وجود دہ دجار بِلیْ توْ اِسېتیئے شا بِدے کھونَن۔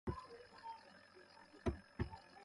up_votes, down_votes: 0, 2